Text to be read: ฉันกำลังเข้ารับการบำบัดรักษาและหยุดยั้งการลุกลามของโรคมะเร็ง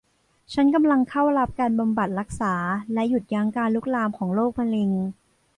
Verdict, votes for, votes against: accepted, 2, 0